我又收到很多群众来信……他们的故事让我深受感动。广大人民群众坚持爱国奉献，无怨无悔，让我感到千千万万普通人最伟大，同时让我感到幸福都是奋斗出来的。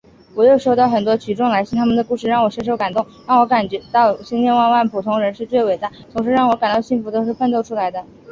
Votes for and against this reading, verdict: 2, 5, rejected